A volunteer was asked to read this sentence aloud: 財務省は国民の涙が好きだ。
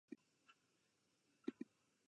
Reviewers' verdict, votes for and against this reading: rejected, 1, 2